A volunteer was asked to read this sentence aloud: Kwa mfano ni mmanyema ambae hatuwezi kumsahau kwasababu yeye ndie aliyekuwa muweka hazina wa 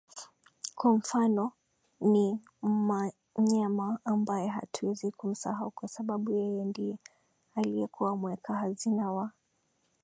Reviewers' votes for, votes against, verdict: 1, 2, rejected